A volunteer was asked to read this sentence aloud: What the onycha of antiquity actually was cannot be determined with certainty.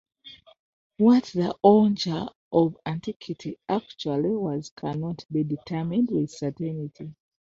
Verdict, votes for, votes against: rejected, 1, 2